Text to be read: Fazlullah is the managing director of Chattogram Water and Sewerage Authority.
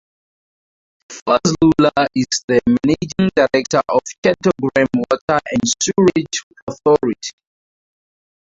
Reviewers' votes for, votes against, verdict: 0, 2, rejected